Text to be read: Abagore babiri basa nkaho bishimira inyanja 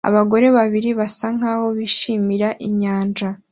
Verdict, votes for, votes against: accepted, 2, 0